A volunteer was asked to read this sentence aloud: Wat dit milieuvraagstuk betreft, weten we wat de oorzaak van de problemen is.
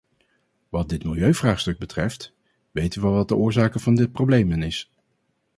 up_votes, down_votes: 0, 2